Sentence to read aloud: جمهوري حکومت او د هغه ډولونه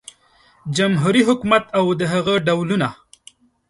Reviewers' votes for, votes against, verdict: 2, 0, accepted